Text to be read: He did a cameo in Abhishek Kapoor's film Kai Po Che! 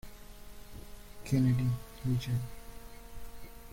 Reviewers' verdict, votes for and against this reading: rejected, 0, 2